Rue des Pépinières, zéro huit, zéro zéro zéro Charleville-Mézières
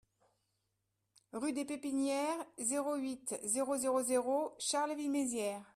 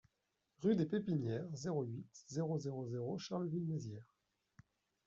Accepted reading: first